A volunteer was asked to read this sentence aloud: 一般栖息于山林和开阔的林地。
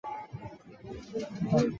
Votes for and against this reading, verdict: 1, 7, rejected